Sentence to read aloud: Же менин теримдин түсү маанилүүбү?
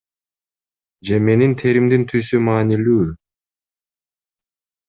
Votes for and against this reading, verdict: 2, 0, accepted